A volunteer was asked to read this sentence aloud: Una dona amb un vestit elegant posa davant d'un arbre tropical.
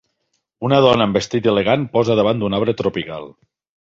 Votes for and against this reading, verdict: 1, 2, rejected